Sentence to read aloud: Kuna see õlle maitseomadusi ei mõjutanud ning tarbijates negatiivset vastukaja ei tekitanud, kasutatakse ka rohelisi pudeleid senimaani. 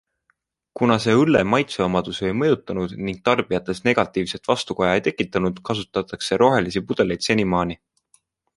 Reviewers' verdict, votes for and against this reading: rejected, 0, 2